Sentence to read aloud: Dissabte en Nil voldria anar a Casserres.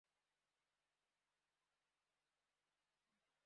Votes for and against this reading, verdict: 0, 2, rejected